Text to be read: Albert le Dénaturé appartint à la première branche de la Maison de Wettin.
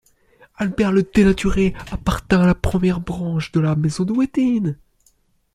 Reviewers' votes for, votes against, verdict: 2, 0, accepted